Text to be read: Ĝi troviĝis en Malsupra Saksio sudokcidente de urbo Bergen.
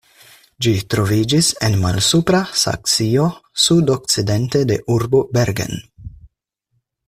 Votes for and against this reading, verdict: 4, 0, accepted